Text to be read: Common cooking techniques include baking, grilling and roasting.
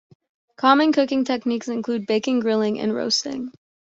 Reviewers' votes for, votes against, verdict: 2, 0, accepted